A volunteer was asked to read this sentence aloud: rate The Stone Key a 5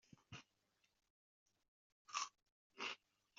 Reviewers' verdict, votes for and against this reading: rejected, 0, 2